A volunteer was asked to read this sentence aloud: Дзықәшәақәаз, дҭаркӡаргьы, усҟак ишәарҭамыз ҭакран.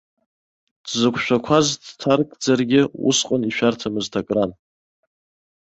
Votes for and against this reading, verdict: 1, 2, rejected